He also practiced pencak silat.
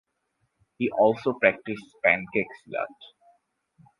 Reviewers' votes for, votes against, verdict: 4, 0, accepted